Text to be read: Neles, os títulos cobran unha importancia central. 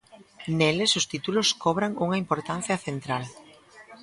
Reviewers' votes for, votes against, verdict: 2, 0, accepted